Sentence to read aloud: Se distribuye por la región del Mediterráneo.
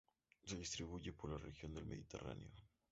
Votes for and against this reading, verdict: 0, 2, rejected